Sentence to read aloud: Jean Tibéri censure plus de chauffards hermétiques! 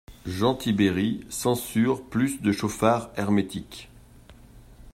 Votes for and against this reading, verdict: 2, 0, accepted